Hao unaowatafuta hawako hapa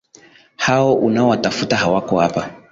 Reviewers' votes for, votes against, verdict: 2, 0, accepted